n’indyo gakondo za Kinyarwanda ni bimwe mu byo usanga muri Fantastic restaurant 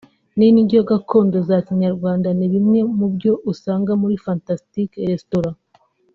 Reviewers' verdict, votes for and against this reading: accepted, 3, 0